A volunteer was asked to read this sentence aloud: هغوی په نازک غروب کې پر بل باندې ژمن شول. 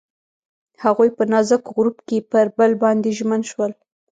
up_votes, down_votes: 2, 1